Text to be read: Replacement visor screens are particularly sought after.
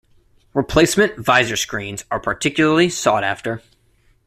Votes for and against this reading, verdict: 2, 0, accepted